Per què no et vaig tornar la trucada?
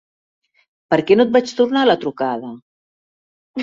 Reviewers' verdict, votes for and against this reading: accepted, 2, 0